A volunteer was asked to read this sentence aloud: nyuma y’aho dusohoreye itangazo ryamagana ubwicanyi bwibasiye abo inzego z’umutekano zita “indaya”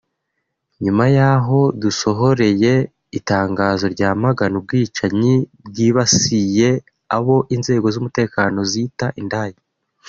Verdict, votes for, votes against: rejected, 0, 2